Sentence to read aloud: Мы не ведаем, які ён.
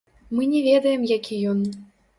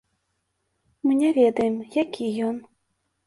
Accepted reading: second